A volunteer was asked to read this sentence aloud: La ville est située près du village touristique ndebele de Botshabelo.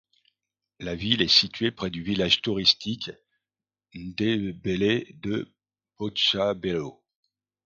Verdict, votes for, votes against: rejected, 1, 2